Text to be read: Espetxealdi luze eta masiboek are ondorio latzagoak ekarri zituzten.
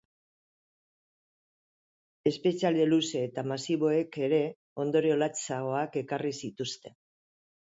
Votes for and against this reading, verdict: 1, 3, rejected